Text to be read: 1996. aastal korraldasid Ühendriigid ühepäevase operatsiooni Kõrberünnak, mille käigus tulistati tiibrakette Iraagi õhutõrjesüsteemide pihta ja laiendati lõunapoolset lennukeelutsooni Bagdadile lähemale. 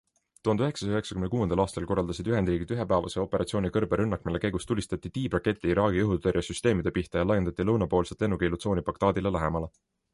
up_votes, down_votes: 0, 2